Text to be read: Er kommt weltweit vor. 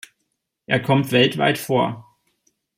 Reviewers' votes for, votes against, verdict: 2, 0, accepted